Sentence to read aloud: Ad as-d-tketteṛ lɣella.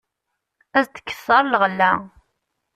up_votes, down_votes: 1, 2